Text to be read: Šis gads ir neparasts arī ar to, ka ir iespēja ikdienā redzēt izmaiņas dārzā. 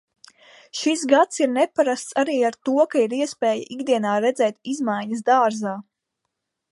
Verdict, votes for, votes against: accepted, 2, 0